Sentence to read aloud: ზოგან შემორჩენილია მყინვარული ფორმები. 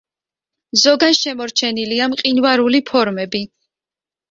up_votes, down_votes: 2, 0